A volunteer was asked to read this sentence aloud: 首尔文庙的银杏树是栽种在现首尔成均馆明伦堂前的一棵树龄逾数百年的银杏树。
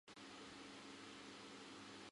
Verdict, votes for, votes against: rejected, 0, 5